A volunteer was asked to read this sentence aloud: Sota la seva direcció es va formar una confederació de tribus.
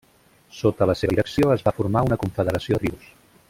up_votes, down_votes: 0, 2